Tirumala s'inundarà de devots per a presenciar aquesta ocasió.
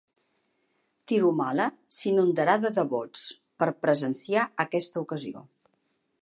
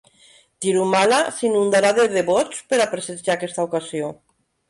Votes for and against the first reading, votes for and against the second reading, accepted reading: 1, 2, 2, 1, second